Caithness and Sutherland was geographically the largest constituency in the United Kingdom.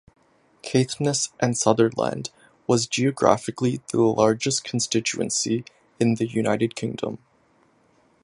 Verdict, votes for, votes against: accepted, 2, 0